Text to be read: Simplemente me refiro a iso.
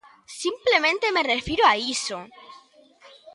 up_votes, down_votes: 2, 0